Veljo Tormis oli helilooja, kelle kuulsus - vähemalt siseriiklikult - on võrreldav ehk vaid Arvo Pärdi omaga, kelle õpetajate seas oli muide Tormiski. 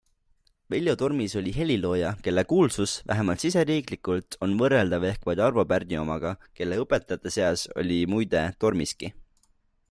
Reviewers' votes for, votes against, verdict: 2, 0, accepted